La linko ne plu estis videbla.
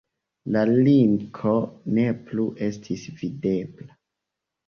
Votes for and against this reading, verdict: 2, 1, accepted